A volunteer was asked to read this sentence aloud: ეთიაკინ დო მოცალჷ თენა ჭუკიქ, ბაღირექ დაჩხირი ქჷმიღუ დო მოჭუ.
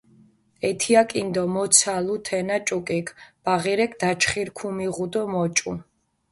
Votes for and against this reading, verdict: 0, 2, rejected